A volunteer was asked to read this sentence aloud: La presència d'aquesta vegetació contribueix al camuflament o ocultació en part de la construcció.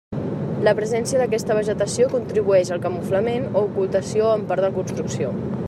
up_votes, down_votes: 1, 2